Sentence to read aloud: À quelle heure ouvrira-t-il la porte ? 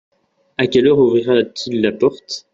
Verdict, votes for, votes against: accepted, 2, 1